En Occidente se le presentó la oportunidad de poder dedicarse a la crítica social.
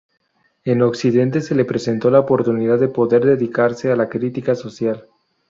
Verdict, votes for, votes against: rejected, 2, 2